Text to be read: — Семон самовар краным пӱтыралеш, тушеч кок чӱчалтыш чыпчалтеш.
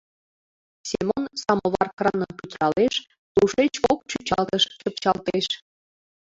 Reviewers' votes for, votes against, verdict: 2, 1, accepted